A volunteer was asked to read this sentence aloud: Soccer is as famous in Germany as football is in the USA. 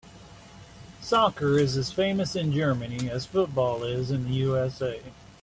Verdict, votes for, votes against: accepted, 2, 0